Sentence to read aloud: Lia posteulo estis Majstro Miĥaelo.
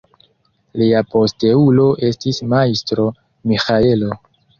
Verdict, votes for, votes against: rejected, 1, 2